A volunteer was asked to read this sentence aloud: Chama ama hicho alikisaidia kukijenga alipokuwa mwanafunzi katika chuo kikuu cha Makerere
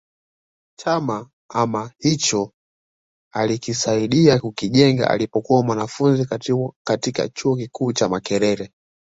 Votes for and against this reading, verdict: 2, 0, accepted